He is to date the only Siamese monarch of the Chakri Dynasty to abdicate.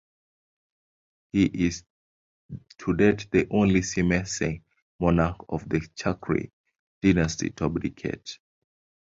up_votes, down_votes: 1, 2